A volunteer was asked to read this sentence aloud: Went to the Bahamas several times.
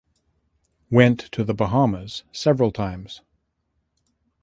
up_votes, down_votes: 2, 0